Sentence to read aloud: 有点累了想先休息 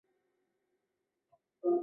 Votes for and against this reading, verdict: 0, 5, rejected